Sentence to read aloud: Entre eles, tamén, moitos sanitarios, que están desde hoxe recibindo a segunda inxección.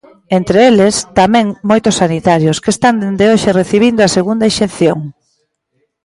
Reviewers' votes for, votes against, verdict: 0, 2, rejected